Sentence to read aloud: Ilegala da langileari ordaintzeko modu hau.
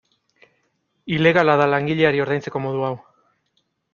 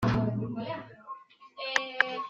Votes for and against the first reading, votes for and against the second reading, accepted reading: 2, 0, 0, 2, first